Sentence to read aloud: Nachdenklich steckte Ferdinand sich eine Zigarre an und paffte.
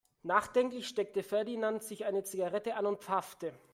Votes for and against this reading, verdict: 1, 2, rejected